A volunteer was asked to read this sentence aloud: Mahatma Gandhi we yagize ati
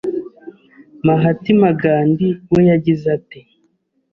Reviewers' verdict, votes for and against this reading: rejected, 1, 2